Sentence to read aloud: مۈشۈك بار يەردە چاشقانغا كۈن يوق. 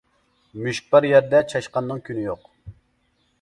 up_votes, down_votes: 0, 2